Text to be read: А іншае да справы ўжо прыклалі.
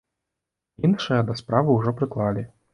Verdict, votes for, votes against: rejected, 0, 2